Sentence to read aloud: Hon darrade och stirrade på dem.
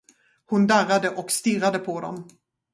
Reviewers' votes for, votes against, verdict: 2, 4, rejected